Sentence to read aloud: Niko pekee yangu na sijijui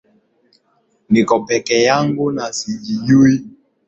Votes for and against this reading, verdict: 5, 3, accepted